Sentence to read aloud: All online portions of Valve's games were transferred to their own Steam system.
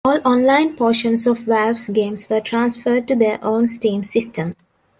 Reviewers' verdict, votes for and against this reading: accepted, 2, 0